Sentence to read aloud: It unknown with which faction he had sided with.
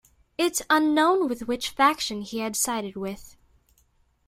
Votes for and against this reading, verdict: 0, 2, rejected